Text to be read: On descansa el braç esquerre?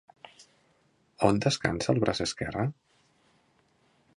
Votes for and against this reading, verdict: 3, 0, accepted